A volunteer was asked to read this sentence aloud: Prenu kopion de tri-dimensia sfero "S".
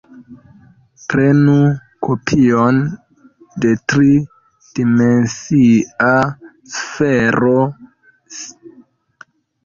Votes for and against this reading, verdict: 0, 2, rejected